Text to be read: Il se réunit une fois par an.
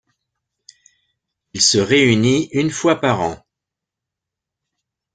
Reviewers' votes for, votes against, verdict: 2, 0, accepted